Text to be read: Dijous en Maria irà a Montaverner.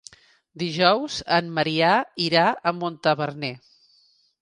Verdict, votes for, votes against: rejected, 0, 2